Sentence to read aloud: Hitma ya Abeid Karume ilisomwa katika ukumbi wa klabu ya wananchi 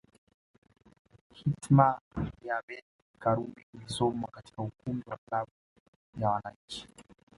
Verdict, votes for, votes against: rejected, 1, 2